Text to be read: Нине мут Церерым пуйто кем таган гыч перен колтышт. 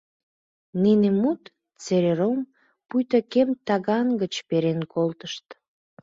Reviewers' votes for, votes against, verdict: 2, 1, accepted